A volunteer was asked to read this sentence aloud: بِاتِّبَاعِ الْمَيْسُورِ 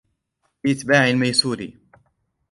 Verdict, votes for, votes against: rejected, 1, 2